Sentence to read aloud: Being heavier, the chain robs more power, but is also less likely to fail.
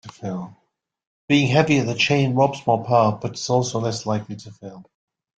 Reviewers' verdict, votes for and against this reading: rejected, 1, 2